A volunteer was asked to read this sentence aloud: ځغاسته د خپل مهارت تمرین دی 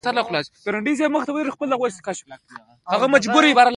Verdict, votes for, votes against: accepted, 2, 0